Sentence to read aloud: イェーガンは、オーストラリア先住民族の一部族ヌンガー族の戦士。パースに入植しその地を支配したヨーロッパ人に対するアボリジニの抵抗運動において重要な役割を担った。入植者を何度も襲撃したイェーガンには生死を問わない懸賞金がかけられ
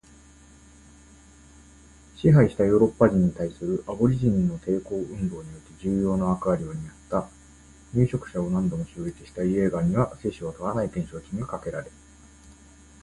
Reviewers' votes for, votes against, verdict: 0, 2, rejected